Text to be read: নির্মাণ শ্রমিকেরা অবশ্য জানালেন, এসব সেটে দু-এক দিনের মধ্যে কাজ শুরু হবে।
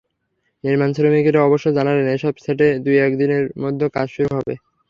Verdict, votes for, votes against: rejected, 0, 3